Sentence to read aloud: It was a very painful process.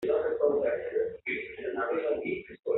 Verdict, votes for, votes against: rejected, 1, 2